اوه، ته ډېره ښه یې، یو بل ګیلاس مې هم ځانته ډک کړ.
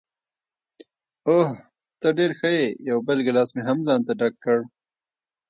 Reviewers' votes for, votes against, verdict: 2, 0, accepted